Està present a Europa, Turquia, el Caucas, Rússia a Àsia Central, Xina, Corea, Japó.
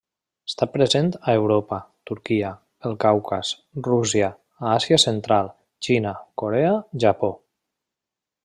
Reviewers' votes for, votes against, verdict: 2, 0, accepted